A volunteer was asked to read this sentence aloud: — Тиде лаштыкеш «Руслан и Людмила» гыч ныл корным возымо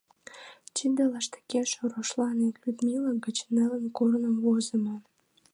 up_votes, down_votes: 0, 2